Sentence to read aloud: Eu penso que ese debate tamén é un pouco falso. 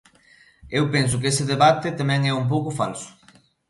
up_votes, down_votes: 2, 0